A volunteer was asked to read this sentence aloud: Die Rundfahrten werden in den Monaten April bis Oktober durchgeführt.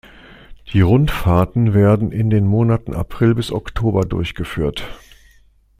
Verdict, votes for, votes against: accepted, 2, 0